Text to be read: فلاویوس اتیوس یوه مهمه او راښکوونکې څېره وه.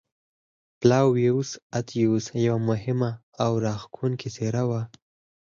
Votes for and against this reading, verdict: 4, 2, accepted